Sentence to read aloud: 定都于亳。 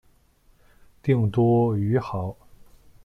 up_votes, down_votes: 2, 1